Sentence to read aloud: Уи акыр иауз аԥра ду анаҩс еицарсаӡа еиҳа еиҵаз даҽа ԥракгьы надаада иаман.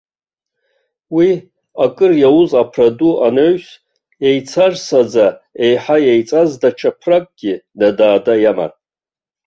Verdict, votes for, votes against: accepted, 3, 2